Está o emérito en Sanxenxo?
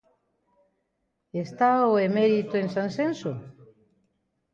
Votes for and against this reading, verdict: 0, 2, rejected